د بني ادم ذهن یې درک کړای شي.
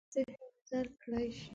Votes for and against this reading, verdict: 0, 2, rejected